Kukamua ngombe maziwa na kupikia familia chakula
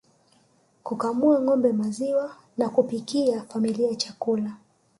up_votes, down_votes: 2, 0